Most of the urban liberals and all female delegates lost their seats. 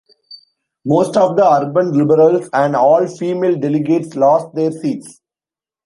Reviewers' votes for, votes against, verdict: 2, 0, accepted